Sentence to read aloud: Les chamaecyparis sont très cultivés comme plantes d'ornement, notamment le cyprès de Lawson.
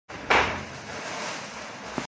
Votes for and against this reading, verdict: 0, 2, rejected